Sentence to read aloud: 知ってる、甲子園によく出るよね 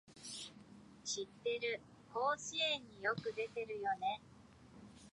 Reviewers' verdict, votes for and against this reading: rejected, 1, 2